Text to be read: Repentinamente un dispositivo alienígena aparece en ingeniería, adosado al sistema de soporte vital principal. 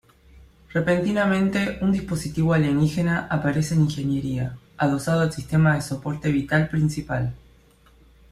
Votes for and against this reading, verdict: 2, 0, accepted